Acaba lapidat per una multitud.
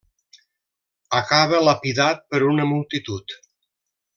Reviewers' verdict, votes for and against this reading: rejected, 1, 2